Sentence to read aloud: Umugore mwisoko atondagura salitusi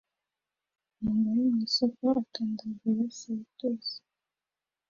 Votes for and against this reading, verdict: 2, 1, accepted